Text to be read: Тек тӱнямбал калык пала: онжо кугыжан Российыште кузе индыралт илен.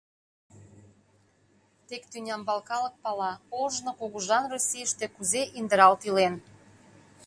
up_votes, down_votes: 0, 2